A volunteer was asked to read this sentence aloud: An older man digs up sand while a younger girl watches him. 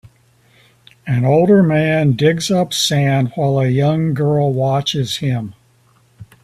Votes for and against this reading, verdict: 1, 2, rejected